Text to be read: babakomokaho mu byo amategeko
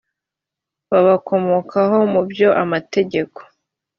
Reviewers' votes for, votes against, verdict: 3, 0, accepted